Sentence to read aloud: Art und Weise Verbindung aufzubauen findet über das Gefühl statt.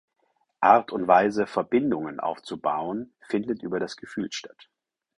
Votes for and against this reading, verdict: 0, 4, rejected